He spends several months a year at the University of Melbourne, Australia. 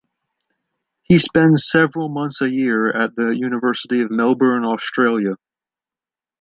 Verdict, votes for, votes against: accepted, 2, 0